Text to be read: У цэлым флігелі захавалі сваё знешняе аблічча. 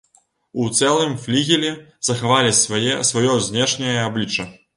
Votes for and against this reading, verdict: 0, 2, rejected